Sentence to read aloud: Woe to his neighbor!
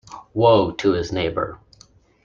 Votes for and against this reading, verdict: 2, 0, accepted